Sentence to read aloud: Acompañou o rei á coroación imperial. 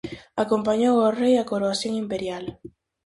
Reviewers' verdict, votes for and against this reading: accepted, 4, 0